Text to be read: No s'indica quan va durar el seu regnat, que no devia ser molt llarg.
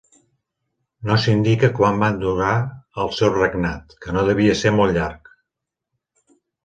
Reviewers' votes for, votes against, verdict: 1, 2, rejected